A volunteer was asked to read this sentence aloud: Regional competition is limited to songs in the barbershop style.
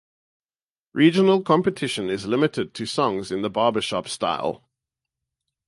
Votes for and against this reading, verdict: 4, 0, accepted